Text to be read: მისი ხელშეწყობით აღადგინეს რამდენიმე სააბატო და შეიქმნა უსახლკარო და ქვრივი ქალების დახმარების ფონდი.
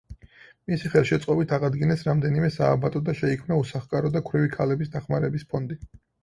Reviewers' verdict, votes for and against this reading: accepted, 4, 0